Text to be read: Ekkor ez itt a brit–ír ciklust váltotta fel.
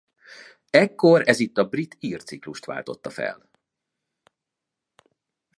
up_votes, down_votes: 2, 0